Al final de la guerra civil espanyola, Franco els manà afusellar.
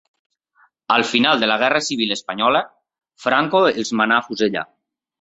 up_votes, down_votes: 2, 0